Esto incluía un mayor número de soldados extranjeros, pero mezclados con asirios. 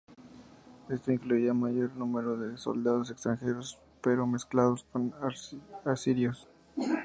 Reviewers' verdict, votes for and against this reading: rejected, 0, 2